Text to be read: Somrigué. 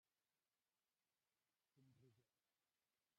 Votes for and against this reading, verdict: 0, 2, rejected